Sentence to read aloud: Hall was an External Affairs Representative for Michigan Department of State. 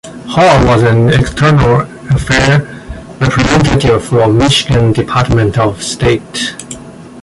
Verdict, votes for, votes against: rejected, 0, 2